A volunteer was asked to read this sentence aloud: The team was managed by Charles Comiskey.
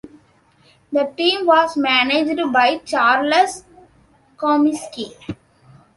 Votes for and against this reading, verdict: 1, 2, rejected